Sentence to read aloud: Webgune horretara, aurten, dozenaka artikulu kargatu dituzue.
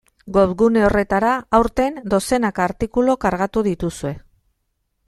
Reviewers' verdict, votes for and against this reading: accepted, 2, 1